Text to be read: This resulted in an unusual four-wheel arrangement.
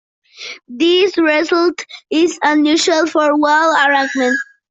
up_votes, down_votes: 0, 2